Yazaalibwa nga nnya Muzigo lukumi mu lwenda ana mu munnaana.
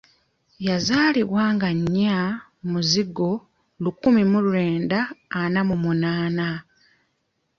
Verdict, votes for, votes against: accepted, 2, 0